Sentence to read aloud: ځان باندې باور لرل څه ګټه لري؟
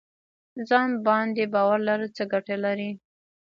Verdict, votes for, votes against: rejected, 1, 2